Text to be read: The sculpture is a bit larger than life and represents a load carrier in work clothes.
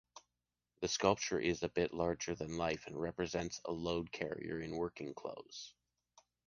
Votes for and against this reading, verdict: 1, 2, rejected